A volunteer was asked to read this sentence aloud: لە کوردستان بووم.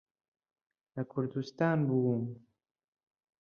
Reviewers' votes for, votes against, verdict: 2, 0, accepted